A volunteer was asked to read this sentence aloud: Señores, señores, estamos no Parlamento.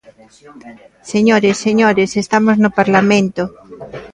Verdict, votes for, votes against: rejected, 1, 2